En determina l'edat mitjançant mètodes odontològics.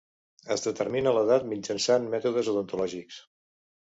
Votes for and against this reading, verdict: 1, 2, rejected